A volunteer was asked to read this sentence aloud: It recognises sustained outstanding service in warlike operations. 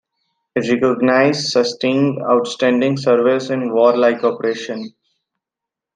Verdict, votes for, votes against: accepted, 2, 1